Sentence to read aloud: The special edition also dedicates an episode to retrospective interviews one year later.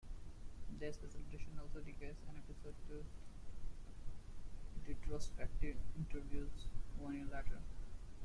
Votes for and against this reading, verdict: 0, 2, rejected